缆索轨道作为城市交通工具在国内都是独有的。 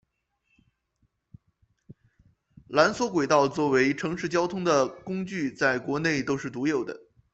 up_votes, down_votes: 0, 2